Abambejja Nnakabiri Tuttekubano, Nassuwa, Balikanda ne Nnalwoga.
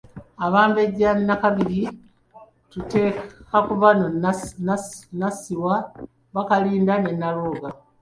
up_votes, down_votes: 1, 2